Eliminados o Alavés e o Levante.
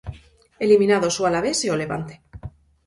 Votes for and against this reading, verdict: 4, 0, accepted